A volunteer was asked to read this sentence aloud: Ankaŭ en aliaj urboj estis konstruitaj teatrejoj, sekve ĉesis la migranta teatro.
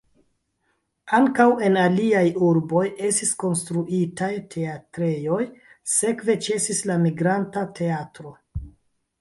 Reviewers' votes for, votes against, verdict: 1, 2, rejected